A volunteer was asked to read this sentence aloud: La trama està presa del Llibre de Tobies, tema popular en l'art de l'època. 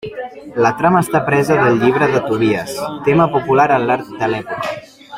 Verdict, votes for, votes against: accepted, 2, 1